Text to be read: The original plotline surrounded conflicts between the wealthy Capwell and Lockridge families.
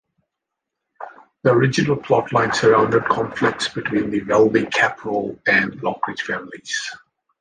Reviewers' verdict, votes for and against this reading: rejected, 0, 2